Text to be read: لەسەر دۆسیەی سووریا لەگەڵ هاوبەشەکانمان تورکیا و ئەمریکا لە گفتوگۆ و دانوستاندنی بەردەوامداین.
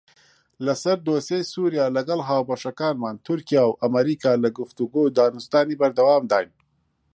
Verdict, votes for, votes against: accepted, 2, 0